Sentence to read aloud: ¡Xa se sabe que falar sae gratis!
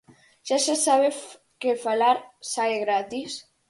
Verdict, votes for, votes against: rejected, 2, 2